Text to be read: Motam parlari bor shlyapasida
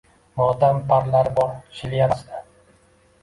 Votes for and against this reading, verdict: 1, 2, rejected